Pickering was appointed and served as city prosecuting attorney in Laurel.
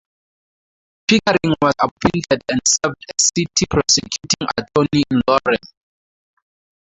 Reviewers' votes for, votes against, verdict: 0, 2, rejected